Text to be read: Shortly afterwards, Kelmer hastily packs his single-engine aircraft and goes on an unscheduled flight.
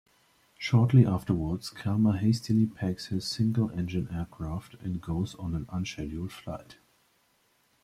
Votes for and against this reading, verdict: 2, 1, accepted